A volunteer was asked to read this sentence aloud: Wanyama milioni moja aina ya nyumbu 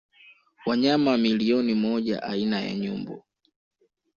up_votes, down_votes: 2, 0